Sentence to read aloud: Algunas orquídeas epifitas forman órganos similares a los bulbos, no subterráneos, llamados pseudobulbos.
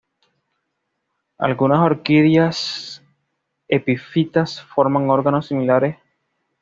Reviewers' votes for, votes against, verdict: 1, 2, rejected